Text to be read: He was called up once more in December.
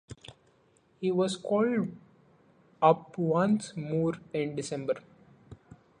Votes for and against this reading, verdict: 2, 1, accepted